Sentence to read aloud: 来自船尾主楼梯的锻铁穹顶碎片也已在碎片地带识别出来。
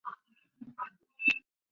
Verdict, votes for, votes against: rejected, 1, 2